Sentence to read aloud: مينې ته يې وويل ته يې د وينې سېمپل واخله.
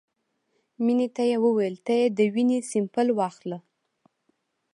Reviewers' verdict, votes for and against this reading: accepted, 2, 0